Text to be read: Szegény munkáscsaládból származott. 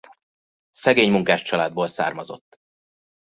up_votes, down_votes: 2, 0